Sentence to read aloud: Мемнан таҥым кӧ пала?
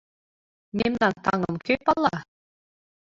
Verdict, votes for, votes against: rejected, 0, 2